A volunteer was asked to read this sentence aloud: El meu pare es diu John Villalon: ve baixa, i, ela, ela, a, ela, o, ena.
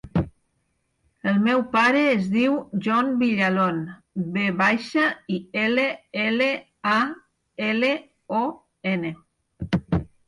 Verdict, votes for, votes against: rejected, 2, 4